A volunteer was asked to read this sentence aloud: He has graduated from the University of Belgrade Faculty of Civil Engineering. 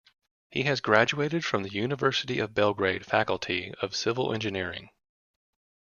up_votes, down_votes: 2, 0